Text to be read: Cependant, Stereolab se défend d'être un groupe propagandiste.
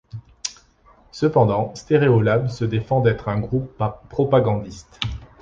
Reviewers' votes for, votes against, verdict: 2, 3, rejected